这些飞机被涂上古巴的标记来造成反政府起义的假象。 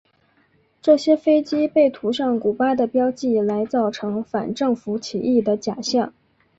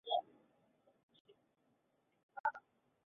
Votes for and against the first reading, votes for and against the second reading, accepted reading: 2, 0, 3, 5, first